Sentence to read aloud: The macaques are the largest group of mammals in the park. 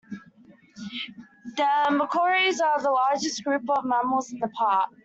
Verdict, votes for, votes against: rejected, 0, 2